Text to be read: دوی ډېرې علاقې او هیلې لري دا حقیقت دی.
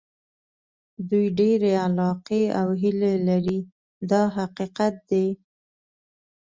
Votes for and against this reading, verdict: 2, 0, accepted